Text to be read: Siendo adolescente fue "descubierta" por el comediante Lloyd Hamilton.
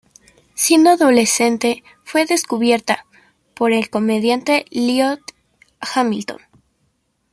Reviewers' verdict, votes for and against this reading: rejected, 1, 2